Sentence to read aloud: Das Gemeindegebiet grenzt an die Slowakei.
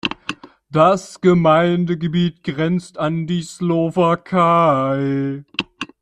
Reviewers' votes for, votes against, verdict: 1, 2, rejected